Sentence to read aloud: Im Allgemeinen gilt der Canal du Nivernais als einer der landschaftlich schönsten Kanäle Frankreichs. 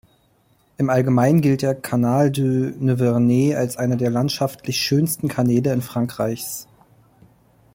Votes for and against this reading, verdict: 1, 2, rejected